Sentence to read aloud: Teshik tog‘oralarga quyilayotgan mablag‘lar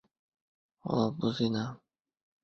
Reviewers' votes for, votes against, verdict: 0, 2, rejected